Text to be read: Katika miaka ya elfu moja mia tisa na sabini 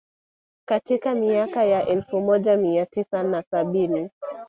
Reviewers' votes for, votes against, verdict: 2, 1, accepted